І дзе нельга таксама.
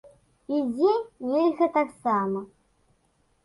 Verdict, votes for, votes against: accepted, 2, 0